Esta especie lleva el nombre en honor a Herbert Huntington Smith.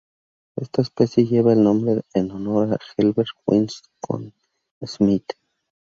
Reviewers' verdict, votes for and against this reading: rejected, 0, 4